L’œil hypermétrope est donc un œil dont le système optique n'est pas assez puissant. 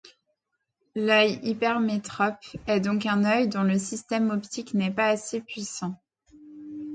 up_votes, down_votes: 2, 0